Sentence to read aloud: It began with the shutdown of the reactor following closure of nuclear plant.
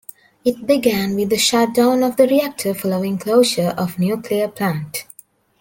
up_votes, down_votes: 2, 0